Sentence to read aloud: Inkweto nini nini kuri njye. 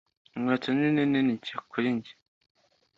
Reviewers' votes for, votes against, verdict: 0, 2, rejected